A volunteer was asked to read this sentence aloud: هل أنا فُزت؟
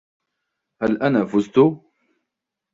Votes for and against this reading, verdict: 2, 0, accepted